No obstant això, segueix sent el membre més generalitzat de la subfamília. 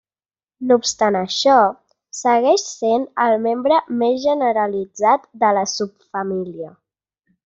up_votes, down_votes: 3, 0